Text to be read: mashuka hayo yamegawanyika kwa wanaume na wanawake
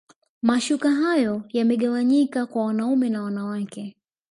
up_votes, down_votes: 1, 2